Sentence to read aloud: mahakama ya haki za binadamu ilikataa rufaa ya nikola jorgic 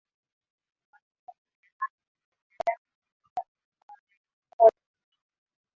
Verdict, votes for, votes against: rejected, 1, 6